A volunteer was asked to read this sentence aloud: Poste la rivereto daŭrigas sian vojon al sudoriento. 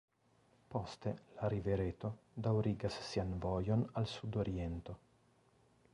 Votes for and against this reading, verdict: 2, 0, accepted